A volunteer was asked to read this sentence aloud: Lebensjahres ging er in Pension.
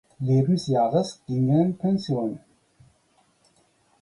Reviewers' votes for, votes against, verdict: 4, 0, accepted